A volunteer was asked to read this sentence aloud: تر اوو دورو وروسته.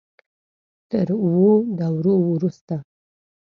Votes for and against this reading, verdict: 2, 0, accepted